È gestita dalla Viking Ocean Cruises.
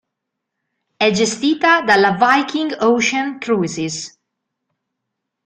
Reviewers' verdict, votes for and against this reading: accepted, 2, 1